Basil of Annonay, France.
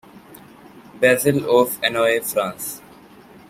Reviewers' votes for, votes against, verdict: 2, 0, accepted